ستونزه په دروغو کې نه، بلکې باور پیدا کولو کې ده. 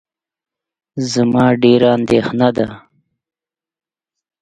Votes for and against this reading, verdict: 0, 2, rejected